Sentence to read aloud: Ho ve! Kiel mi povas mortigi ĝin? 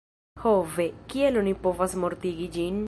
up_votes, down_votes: 1, 2